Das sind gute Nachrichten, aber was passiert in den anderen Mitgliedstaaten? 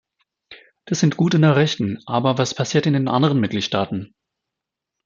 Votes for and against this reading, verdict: 2, 1, accepted